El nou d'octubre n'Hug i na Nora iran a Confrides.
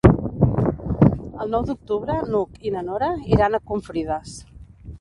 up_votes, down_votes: 1, 2